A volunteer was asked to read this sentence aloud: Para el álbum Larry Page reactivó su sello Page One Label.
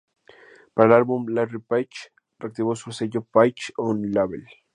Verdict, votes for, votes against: rejected, 0, 2